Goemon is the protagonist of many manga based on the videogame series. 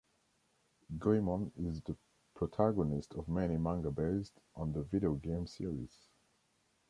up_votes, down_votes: 2, 0